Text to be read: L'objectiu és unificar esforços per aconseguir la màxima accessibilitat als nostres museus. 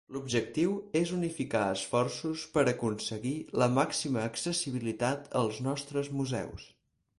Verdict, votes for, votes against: accepted, 4, 0